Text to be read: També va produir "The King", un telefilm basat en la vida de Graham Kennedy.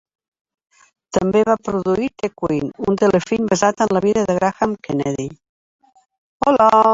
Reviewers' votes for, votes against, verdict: 2, 0, accepted